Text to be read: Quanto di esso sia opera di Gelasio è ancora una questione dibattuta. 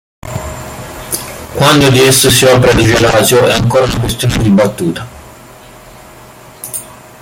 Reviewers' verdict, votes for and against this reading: rejected, 1, 2